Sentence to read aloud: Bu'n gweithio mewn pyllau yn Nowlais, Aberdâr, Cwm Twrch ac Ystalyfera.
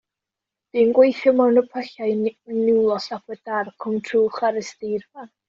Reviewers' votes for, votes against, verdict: 1, 2, rejected